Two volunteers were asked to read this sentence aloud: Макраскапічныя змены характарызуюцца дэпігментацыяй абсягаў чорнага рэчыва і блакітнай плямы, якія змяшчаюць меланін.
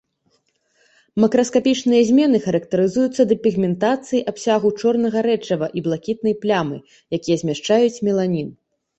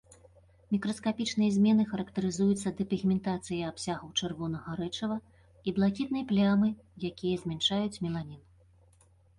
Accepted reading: first